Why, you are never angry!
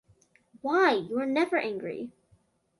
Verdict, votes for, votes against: accepted, 2, 0